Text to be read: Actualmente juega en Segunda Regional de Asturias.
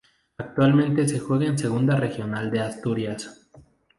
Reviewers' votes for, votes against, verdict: 2, 2, rejected